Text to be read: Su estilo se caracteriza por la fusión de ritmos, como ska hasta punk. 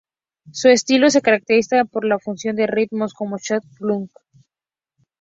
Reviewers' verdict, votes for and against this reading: rejected, 0, 2